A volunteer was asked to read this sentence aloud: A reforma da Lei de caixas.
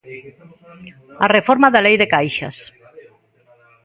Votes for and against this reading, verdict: 0, 2, rejected